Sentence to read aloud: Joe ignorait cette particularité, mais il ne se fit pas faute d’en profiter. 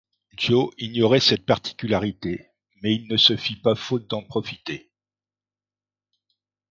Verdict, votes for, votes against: accepted, 2, 0